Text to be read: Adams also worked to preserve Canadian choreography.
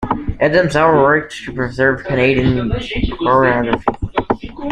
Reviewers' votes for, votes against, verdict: 0, 2, rejected